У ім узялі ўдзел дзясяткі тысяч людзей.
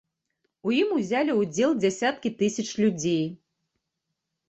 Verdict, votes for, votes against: accepted, 2, 0